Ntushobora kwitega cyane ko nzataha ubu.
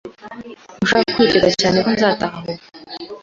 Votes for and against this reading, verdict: 1, 2, rejected